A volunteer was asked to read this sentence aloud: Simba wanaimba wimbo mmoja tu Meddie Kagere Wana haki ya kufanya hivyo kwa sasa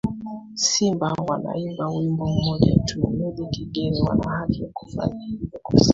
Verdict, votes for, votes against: rejected, 1, 2